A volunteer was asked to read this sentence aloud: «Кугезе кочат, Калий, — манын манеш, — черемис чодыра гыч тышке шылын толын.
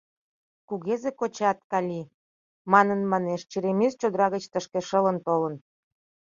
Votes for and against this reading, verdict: 2, 0, accepted